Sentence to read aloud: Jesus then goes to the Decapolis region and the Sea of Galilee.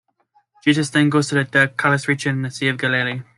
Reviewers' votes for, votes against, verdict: 1, 2, rejected